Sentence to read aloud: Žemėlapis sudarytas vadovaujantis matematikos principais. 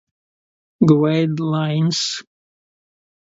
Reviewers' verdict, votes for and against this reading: rejected, 0, 2